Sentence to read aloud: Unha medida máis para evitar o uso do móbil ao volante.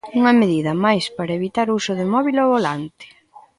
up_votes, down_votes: 0, 2